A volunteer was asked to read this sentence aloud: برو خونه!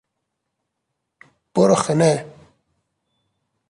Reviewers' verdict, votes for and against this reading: accepted, 3, 0